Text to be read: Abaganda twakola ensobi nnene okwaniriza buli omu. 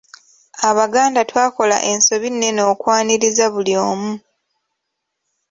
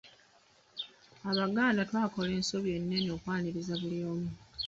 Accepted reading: first